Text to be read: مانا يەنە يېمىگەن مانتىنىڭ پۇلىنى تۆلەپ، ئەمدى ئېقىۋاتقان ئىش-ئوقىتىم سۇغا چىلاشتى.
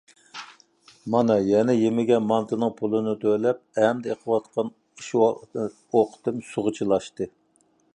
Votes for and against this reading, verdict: 1, 2, rejected